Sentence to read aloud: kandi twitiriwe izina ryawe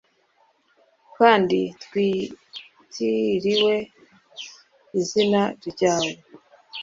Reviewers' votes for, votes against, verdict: 2, 0, accepted